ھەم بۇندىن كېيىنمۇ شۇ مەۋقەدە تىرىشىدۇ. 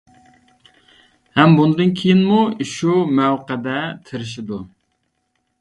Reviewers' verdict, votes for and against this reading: accepted, 2, 0